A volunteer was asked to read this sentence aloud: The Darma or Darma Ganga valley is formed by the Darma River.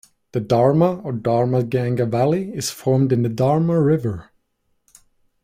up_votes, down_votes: 0, 2